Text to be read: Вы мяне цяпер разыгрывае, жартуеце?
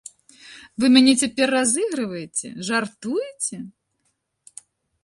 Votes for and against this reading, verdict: 2, 0, accepted